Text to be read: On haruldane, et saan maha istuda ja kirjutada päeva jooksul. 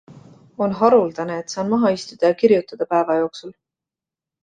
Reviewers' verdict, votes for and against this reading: accepted, 2, 0